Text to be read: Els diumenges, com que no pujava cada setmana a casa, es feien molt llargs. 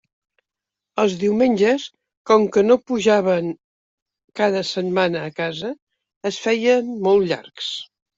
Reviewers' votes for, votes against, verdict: 0, 2, rejected